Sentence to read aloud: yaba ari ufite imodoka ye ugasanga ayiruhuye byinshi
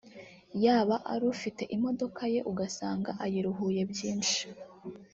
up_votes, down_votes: 1, 2